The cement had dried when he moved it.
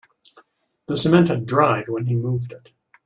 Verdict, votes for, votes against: accepted, 2, 0